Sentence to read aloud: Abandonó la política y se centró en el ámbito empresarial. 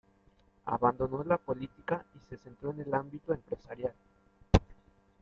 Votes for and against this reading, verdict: 2, 0, accepted